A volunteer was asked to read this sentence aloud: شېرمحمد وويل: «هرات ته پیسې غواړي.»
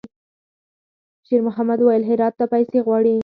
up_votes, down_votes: 2, 4